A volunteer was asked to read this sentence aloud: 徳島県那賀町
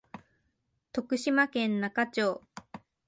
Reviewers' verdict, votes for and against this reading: rejected, 1, 2